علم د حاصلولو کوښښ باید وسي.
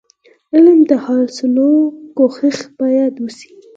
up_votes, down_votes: 2, 4